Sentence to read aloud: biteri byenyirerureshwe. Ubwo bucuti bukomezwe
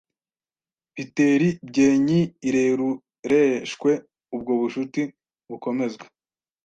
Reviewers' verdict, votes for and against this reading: rejected, 1, 2